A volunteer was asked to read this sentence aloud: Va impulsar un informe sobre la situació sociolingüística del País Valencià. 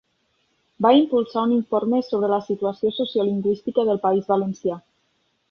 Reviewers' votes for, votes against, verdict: 3, 0, accepted